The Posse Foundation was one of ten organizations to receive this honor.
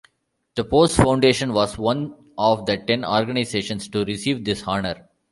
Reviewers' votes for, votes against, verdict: 1, 2, rejected